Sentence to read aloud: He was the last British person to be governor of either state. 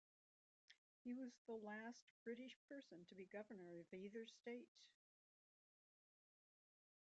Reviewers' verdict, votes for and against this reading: rejected, 1, 2